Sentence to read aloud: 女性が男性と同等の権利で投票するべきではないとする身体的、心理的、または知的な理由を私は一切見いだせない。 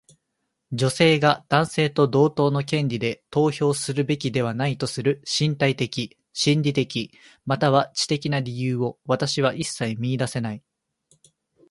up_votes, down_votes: 2, 1